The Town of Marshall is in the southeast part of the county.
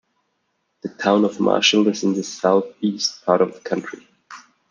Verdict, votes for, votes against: rejected, 1, 2